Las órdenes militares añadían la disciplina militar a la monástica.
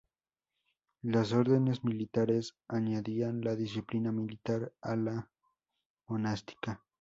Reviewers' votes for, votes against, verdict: 0, 2, rejected